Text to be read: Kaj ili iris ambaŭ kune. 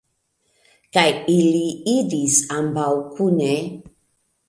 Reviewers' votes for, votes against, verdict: 2, 0, accepted